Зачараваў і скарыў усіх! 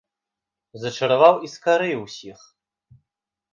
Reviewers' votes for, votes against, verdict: 2, 0, accepted